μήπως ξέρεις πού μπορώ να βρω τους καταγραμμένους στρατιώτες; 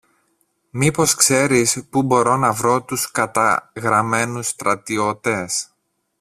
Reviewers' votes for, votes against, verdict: 0, 2, rejected